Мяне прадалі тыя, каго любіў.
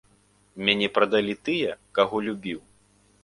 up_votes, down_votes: 2, 0